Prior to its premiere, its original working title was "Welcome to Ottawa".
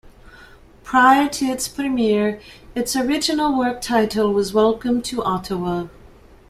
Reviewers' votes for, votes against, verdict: 1, 2, rejected